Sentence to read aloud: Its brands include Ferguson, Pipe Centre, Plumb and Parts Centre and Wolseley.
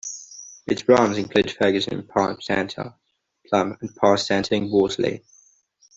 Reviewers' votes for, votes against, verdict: 2, 0, accepted